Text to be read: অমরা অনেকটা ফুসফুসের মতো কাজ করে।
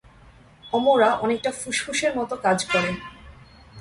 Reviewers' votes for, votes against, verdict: 2, 0, accepted